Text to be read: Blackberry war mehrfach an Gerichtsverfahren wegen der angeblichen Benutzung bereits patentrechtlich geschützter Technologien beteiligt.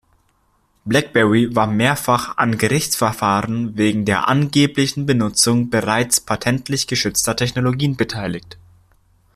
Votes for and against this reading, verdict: 0, 2, rejected